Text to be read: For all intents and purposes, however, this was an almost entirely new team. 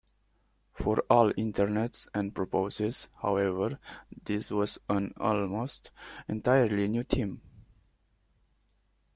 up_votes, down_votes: 0, 2